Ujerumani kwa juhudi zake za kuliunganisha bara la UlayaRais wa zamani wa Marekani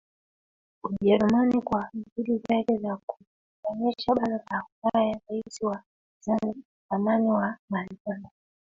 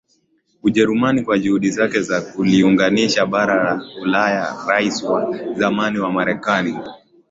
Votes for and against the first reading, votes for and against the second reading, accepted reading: 1, 2, 2, 1, second